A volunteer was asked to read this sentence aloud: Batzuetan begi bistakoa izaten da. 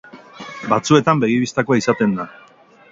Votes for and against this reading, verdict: 2, 2, rejected